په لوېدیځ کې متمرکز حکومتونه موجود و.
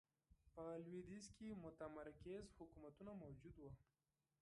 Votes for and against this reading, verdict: 1, 2, rejected